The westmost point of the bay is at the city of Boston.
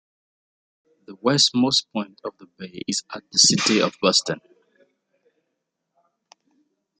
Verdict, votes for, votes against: accepted, 2, 0